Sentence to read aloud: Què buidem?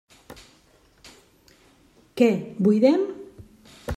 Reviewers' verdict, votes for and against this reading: rejected, 1, 2